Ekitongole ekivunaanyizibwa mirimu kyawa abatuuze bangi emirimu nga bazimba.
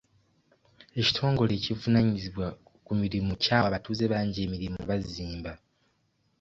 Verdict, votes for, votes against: rejected, 0, 2